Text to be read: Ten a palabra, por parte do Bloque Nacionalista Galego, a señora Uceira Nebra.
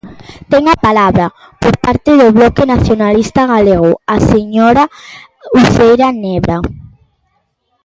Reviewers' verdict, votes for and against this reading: accepted, 2, 0